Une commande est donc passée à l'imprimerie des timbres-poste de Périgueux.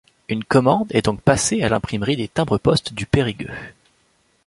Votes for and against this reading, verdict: 2, 1, accepted